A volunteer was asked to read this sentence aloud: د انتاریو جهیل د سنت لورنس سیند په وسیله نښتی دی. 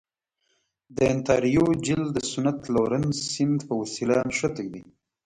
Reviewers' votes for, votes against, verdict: 2, 1, accepted